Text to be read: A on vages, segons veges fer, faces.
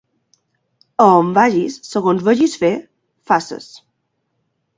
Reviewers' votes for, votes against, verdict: 2, 0, accepted